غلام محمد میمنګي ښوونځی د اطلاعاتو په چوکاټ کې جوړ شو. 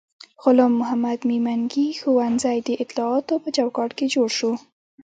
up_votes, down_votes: 2, 0